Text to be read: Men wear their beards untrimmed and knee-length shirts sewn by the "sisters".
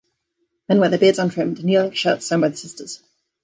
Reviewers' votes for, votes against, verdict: 1, 2, rejected